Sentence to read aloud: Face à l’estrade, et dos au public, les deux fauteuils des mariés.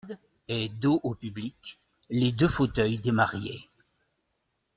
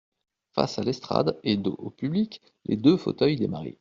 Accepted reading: second